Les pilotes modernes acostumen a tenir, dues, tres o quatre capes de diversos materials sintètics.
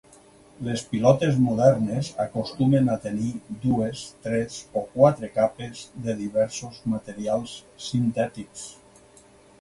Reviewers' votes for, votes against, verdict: 4, 0, accepted